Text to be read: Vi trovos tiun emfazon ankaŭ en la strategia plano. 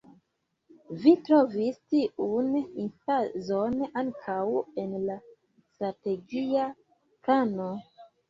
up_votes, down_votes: 1, 2